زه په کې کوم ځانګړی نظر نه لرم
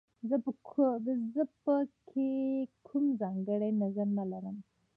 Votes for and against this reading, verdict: 1, 2, rejected